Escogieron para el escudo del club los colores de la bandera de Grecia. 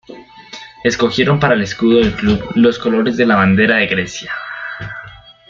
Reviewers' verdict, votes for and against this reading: accepted, 2, 0